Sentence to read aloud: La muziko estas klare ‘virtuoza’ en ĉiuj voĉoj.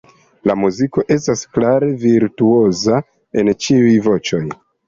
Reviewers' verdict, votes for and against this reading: accepted, 2, 0